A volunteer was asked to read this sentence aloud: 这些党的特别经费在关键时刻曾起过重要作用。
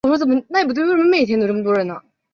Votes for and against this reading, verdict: 1, 2, rejected